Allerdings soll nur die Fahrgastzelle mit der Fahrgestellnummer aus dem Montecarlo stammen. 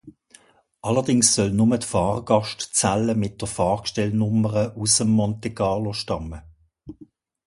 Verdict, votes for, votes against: rejected, 0, 2